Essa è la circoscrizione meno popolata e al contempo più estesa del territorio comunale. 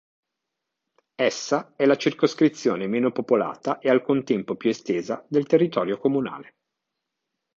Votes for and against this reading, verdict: 2, 0, accepted